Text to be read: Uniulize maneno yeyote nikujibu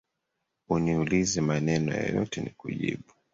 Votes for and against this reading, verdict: 3, 1, accepted